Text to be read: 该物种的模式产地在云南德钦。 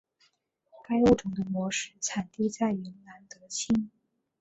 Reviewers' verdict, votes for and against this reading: accepted, 4, 0